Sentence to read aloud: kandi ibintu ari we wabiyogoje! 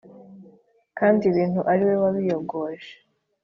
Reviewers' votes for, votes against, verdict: 2, 0, accepted